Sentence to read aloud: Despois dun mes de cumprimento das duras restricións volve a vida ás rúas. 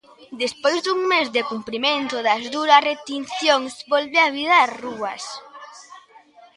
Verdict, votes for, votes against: rejected, 0, 3